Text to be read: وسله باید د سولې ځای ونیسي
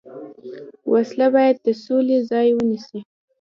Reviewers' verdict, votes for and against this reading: rejected, 0, 2